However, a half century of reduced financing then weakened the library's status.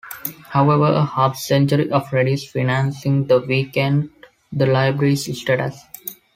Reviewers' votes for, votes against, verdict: 1, 2, rejected